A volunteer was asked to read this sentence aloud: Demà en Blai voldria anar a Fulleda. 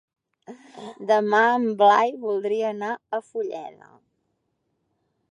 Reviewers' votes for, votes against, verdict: 2, 0, accepted